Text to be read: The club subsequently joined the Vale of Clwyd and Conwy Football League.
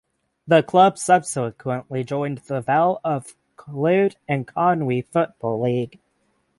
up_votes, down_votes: 3, 3